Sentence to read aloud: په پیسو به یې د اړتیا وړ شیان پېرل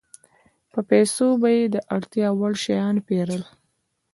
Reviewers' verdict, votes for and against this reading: accepted, 2, 0